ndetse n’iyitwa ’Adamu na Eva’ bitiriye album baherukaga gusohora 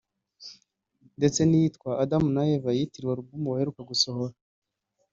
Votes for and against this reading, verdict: 1, 2, rejected